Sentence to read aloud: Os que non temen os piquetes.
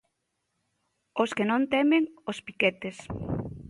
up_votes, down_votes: 2, 0